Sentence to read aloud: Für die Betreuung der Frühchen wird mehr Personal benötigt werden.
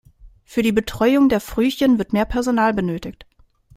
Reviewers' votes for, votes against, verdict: 0, 2, rejected